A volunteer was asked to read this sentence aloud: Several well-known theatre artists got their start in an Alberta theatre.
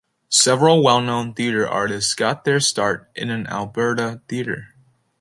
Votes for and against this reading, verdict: 2, 0, accepted